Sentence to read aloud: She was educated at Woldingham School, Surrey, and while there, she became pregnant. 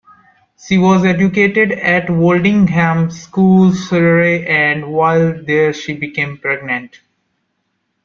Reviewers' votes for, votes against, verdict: 2, 1, accepted